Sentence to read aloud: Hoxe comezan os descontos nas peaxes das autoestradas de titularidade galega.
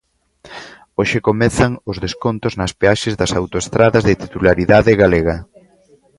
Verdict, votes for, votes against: accepted, 2, 0